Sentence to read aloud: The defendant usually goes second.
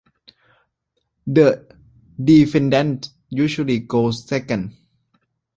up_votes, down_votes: 2, 0